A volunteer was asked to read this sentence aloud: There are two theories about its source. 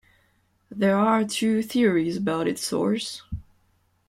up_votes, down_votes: 2, 0